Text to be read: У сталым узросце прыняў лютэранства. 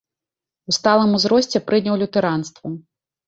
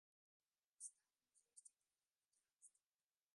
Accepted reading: first